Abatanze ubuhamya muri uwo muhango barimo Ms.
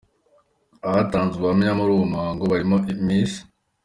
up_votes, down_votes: 2, 0